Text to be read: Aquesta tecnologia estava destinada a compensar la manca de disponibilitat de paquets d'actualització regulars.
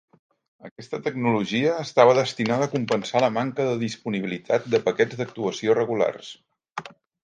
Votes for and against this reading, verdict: 1, 2, rejected